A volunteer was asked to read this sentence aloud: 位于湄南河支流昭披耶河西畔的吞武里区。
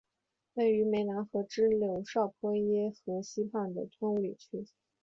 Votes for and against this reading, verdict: 4, 0, accepted